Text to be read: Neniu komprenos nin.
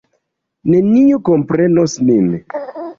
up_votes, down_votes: 2, 1